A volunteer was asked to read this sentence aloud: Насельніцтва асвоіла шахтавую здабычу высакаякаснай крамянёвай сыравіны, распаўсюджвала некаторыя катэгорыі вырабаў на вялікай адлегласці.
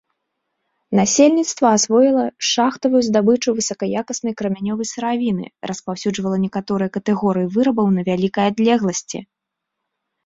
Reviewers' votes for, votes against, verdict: 2, 0, accepted